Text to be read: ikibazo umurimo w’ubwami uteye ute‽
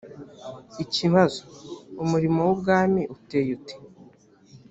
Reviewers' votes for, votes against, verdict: 4, 0, accepted